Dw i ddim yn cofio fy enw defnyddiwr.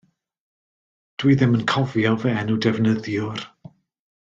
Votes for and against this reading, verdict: 2, 0, accepted